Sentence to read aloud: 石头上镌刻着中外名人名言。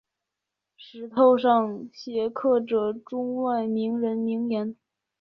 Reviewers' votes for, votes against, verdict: 0, 2, rejected